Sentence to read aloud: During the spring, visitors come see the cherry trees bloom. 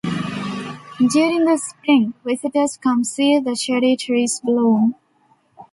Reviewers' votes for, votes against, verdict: 2, 0, accepted